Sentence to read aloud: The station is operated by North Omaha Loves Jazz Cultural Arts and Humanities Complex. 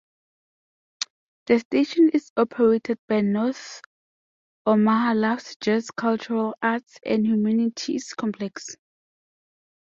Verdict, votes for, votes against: rejected, 0, 2